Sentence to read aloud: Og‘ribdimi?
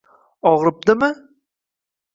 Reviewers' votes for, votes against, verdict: 2, 0, accepted